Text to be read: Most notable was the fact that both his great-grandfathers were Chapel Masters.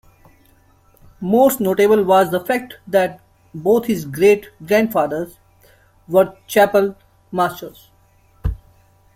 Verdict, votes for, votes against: accepted, 2, 0